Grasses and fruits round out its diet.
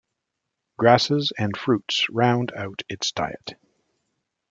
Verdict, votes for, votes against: accepted, 2, 0